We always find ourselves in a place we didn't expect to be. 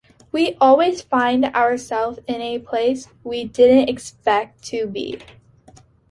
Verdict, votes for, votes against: accepted, 2, 0